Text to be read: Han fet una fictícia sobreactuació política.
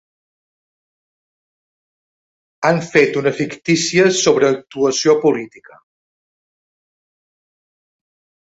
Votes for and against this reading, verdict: 2, 0, accepted